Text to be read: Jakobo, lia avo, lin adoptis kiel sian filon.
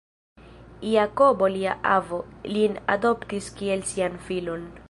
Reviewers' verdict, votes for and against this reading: accepted, 3, 1